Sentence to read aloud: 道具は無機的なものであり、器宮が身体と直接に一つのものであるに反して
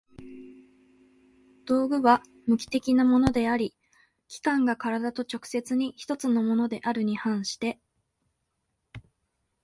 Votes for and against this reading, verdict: 3, 0, accepted